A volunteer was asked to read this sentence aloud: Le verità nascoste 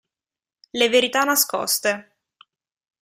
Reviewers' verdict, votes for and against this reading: accepted, 2, 0